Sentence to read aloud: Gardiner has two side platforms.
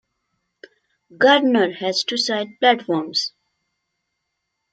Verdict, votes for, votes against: accepted, 2, 0